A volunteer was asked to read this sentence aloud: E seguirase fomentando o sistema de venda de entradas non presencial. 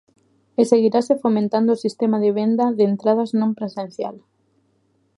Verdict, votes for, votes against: accepted, 2, 0